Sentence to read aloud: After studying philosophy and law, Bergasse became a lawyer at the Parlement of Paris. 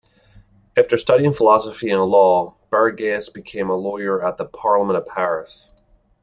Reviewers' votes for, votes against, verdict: 2, 0, accepted